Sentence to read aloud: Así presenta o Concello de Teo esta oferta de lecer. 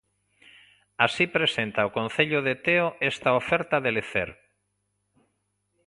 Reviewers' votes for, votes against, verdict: 2, 0, accepted